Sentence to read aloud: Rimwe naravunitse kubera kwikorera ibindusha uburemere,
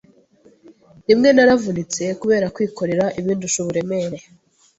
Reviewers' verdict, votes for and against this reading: accepted, 2, 0